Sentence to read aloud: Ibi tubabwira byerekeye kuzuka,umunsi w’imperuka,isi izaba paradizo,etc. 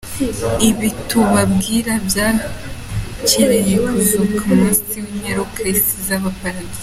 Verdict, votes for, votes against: rejected, 1, 2